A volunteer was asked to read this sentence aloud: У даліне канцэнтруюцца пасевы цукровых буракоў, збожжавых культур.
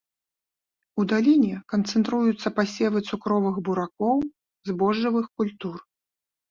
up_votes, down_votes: 2, 0